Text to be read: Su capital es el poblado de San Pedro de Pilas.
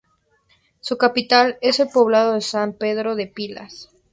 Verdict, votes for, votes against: accepted, 2, 0